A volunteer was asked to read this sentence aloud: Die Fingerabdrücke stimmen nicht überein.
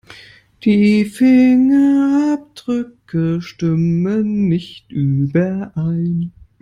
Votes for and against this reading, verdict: 1, 2, rejected